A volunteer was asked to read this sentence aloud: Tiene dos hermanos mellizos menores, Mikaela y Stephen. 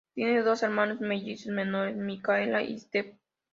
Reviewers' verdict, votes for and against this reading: rejected, 0, 2